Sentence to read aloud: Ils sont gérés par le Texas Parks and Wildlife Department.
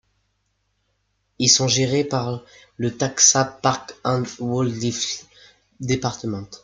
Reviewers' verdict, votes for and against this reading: rejected, 1, 2